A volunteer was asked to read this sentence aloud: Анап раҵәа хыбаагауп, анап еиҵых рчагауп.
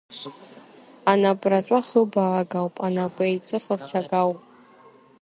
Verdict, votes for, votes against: rejected, 1, 2